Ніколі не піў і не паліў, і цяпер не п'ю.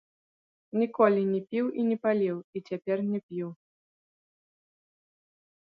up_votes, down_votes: 0, 2